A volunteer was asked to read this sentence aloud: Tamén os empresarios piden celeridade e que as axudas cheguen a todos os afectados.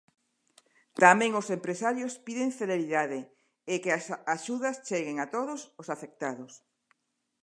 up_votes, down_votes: 1, 2